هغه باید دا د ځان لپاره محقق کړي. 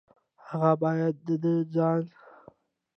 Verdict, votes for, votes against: rejected, 0, 2